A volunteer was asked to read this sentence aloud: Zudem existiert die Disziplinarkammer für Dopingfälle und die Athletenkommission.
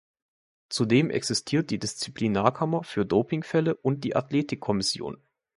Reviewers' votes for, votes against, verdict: 1, 2, rejected